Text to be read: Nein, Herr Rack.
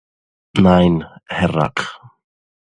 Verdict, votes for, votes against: accepted, 2, 0